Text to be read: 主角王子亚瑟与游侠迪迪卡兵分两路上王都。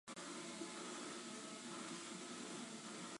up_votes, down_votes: 3, 6